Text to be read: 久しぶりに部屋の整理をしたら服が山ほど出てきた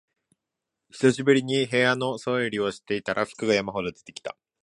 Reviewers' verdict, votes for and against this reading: rejected, 1, 2